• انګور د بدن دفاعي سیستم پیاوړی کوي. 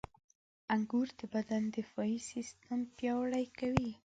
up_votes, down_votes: 2, 1